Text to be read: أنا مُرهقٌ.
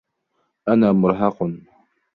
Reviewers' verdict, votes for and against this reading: rejected, 1, 2